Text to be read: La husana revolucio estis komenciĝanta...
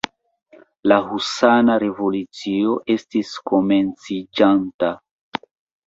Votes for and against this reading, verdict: 2, 1, accepted